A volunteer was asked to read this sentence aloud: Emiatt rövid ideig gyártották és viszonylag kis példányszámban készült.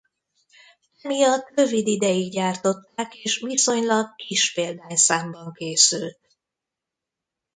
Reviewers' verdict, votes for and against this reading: rejected, 1, 2